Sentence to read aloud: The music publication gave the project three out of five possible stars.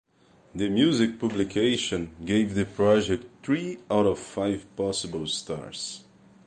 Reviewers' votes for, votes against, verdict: 2, 0, accepted